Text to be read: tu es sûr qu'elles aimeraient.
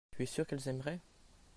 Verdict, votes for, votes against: accepted, 2, 0